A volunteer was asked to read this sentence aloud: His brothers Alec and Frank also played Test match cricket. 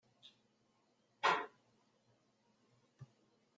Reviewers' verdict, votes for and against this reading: rejected, 0, 2